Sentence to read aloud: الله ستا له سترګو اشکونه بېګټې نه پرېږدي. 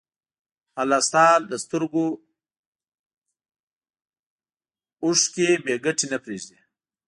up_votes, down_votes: 1, 2